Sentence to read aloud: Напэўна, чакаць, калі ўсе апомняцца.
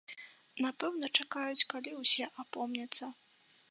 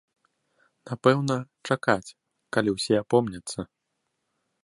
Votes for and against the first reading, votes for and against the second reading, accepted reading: 1, 2, 2, 0, second